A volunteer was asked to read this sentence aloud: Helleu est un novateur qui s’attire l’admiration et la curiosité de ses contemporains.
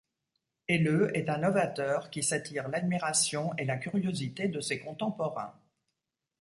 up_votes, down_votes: 2, 0